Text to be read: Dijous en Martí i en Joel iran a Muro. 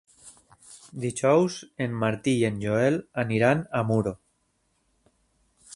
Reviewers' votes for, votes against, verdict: 0, 3, rejected